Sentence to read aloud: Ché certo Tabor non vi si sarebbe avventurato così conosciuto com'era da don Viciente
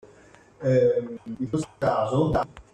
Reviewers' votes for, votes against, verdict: 0, 2, rejected